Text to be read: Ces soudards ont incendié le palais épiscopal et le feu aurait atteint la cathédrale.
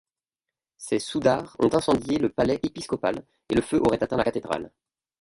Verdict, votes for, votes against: rejected, 1, 2